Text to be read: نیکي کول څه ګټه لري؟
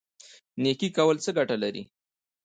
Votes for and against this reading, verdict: 1, 2, rejected